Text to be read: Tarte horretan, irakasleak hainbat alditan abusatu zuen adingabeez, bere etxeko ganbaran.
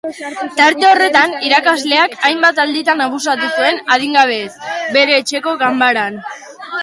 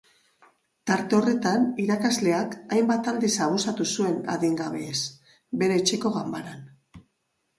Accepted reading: first